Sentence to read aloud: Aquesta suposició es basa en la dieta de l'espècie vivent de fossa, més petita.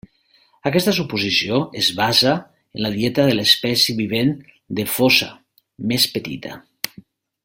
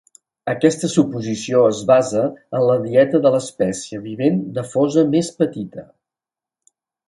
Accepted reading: first